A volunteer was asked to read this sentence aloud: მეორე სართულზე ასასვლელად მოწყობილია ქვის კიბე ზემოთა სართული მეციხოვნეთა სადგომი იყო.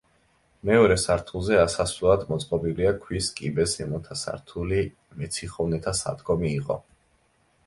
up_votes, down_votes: 2, 0